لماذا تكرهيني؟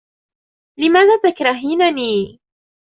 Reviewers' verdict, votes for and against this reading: rejected, 1, 2